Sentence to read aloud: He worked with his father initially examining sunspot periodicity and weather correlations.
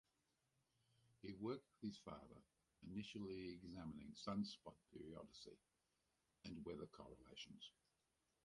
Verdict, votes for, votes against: rejected, 0, 2